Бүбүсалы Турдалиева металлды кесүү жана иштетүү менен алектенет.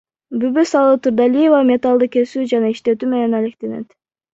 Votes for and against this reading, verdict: 1, 2, rejected